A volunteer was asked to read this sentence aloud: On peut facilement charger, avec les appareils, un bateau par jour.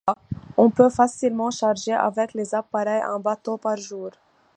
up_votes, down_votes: 2, 0